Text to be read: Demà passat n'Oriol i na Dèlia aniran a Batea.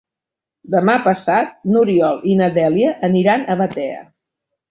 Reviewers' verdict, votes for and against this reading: accepted, 3, 0